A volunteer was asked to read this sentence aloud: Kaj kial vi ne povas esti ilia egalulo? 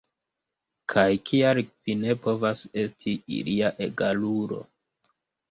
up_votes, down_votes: 1, 2